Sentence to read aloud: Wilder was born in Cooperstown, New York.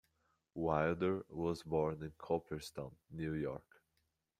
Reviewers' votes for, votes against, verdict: 2, 0, accepted